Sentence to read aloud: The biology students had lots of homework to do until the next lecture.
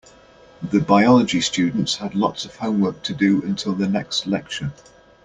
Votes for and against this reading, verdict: 2, 0, accepted